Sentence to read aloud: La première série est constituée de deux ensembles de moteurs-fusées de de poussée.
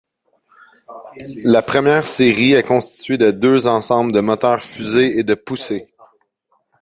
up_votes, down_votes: 0, 2